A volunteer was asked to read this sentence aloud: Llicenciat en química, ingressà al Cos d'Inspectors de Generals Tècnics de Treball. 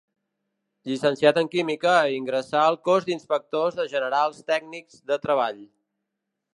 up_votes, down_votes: 2, 0